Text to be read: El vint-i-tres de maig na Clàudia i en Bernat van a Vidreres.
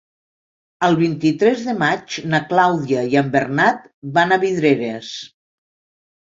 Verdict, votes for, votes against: accepted, 2, 0